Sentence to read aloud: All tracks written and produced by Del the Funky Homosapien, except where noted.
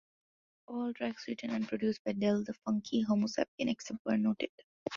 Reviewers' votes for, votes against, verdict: 2, 1, accepted